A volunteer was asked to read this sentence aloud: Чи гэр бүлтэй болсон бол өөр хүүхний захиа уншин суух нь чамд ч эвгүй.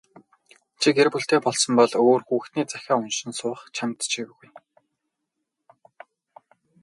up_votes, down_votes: 0, 4